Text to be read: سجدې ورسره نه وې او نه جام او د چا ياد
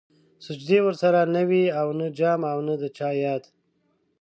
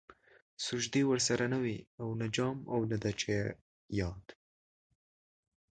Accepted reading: second